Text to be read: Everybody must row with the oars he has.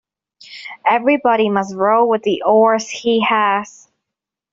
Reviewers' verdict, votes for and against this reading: accepted, 2, 1